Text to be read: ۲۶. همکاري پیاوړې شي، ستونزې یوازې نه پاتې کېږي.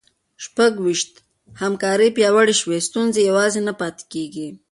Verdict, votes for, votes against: rejected, 0, 2